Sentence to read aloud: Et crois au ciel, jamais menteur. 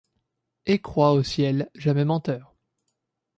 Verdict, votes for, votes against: accepted, 2, 0